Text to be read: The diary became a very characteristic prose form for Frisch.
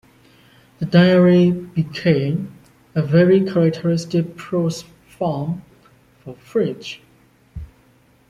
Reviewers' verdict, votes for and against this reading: accepted, 2, 1